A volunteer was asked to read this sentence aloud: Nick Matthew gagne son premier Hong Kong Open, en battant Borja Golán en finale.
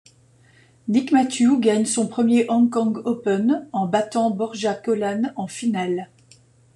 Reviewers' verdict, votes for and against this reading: accepted, 2, 1